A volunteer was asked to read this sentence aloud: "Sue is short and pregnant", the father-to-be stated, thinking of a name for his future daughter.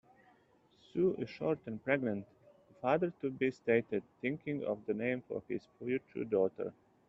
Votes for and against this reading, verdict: 1, 2, rejected